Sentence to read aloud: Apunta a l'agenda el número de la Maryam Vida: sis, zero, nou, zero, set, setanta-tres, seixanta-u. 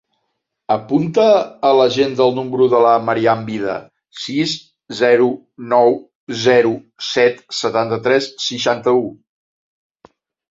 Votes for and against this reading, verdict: 2, 0, accepted